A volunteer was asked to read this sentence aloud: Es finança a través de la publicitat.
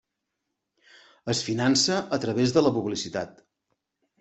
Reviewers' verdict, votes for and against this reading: accepted, 3, 0